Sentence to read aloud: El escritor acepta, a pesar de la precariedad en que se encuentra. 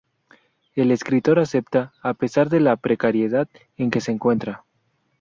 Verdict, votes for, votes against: accepted, 2, 0